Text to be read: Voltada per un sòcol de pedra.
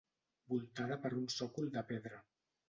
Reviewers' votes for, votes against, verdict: 1, 2, rejected